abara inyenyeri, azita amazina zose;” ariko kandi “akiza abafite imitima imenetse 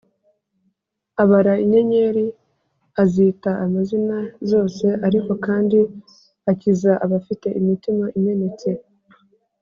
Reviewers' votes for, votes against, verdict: 4, 0, accepted